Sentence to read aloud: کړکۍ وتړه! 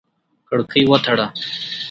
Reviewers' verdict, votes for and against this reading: accepted, 5, 0